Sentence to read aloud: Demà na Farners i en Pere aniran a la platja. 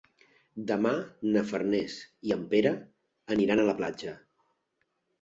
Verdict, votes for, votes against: accepted, 3, 0